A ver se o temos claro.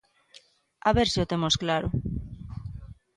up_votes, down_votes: 6, 0